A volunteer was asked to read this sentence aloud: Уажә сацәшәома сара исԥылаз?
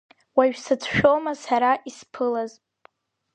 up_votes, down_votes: 4, 0